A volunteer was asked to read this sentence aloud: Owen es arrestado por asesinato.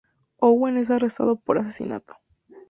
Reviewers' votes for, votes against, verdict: 2, 0, accepted